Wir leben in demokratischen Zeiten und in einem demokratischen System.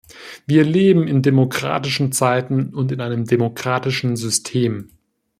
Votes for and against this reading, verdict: 2, 0, accepted